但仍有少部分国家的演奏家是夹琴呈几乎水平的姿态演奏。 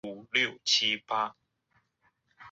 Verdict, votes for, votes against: rejected, 0, 2